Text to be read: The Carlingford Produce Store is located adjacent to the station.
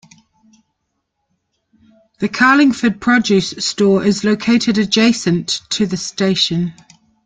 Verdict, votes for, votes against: accepted, 2, 0